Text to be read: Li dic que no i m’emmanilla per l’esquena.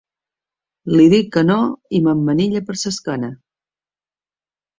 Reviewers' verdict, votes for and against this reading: rejected, 1, 2